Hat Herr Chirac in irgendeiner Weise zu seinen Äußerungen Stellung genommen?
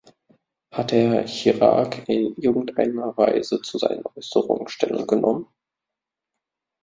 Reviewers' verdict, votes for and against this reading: rejected, 0, 2